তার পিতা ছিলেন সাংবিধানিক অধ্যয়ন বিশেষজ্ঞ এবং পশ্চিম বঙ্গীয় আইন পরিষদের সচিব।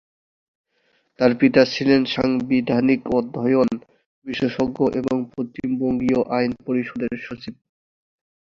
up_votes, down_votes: 2, 0